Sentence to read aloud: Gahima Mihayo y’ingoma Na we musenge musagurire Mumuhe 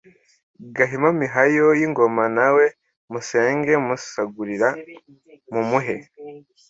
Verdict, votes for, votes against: accepted, 2, 0